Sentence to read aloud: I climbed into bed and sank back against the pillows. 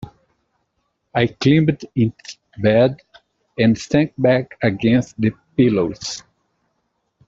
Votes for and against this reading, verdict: 0, 2, rejected